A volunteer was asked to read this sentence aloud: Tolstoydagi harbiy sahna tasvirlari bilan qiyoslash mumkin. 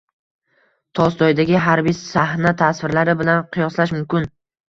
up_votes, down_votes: 2, 1